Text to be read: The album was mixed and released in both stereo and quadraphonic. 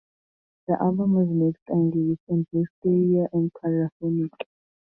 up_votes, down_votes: 0, 2